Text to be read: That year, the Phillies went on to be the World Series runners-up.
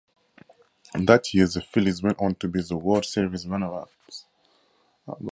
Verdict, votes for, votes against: rejected, 0, 2